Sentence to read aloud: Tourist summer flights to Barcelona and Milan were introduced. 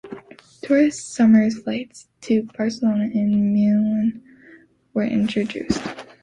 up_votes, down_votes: 1, 4